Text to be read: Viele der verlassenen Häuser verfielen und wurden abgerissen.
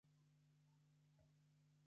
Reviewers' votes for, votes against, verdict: 0, 2, rejected